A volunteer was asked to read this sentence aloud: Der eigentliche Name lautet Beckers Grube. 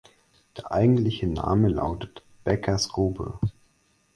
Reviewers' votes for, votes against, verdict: 4, 0, accepted